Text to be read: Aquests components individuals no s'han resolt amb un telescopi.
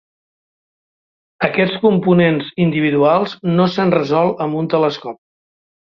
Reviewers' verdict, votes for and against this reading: rejected, 0, 2